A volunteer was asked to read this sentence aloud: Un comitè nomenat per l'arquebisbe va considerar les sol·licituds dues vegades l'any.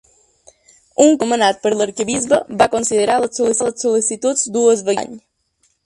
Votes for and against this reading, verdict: 0, 2, rejected